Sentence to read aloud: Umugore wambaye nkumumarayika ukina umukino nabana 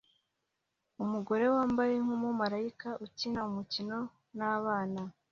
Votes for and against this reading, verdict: 2, 0, accepted